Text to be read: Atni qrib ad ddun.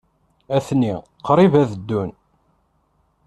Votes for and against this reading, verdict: 2, 0, accepted